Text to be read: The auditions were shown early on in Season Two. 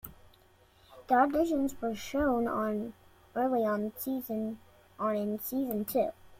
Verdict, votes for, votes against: rejected, 0, 2